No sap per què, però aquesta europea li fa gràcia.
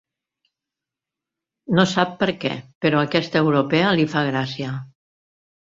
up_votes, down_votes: 3, 0